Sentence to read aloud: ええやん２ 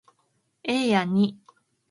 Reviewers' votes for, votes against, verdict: 0, 2, rejected